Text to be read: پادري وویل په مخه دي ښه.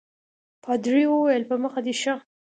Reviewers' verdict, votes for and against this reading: accepted, 2, 0